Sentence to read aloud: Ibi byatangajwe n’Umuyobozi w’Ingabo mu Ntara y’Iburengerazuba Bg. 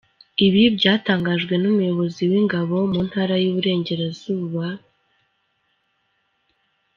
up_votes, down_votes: 1, 2